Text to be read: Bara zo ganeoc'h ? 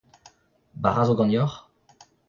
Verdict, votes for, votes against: rejected, 0, 2